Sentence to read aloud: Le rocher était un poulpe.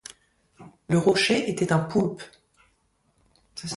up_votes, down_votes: 2, 0